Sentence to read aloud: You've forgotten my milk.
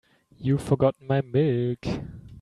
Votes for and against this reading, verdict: 1, 2, rejected